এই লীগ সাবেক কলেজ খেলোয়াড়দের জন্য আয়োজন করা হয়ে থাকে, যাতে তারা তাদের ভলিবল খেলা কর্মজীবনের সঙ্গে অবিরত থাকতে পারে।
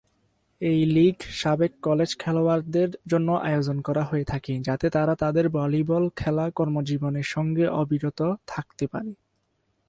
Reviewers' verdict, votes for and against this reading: accepted, 6, 0